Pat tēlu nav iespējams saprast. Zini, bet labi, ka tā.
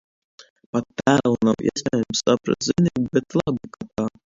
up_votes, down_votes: 0, 2